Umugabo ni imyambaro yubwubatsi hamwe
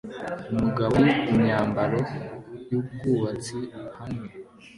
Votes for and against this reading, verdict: 2, 0, accepted